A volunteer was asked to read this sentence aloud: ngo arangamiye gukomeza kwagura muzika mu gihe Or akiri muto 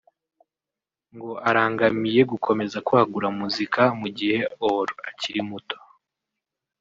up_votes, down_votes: 1, 2